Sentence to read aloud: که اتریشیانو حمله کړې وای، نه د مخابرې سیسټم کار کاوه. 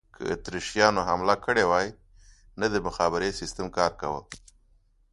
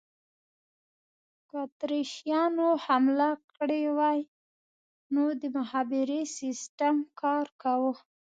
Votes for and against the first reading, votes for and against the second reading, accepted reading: 2, 0, 1, 2, first